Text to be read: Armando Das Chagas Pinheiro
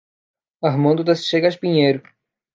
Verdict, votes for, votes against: rejected, 0, 2